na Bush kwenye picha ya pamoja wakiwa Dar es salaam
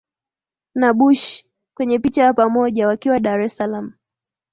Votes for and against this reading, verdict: 2, 0, accepted